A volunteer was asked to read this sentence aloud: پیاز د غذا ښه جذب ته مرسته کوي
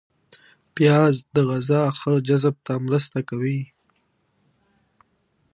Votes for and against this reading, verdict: 2, 0, accepted